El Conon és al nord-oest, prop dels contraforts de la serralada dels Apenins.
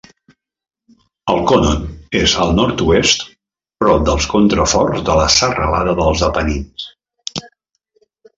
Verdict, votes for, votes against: accepted, 2, 0